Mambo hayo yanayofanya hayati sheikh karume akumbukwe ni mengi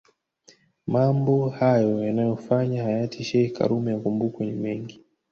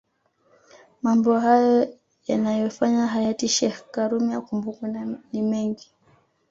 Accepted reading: first